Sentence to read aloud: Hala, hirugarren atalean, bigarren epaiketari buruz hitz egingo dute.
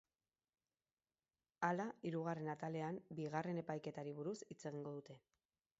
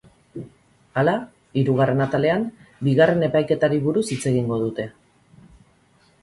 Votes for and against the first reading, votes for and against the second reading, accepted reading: 2, 2, 2, 0, second